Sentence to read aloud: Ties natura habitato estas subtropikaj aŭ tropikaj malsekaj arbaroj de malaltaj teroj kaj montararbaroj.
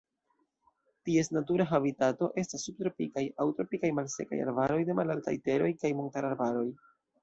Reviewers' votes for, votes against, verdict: 2, 0, accepted